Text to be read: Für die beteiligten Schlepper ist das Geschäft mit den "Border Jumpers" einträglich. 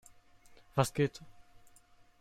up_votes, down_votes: 0, 2